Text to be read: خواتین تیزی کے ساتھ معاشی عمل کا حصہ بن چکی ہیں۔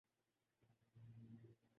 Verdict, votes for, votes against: rejected, 0, 4